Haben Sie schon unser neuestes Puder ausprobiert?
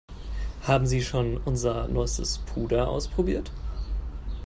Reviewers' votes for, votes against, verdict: 5, 0, accepted